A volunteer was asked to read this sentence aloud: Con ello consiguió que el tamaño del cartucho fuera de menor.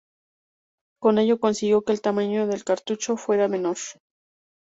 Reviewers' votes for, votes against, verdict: 0, 2, rejected